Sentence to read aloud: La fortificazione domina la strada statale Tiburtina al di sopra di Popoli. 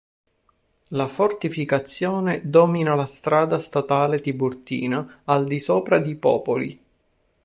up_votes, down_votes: 3, 0